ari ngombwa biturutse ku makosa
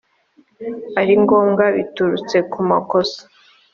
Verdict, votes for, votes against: accepted, 2, 0